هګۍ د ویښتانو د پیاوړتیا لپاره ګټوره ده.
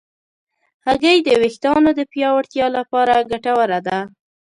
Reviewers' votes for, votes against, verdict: 2, 0, accepted